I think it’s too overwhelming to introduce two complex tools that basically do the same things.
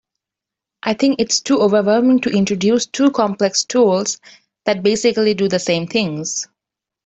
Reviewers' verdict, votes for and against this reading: accepted, 2, 0